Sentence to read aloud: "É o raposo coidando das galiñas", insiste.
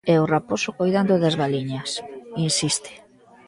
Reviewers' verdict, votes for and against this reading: rejected, 0, 2